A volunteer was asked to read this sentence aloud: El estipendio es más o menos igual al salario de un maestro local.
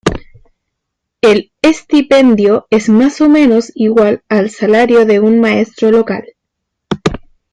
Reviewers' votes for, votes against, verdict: 2, 0, accepted